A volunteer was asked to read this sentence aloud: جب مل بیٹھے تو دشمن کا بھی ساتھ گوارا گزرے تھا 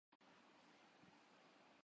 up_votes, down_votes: 0, 2